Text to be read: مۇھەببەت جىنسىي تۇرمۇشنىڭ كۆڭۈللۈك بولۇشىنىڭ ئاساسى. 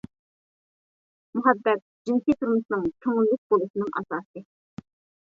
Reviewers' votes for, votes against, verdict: 1, 2, rejected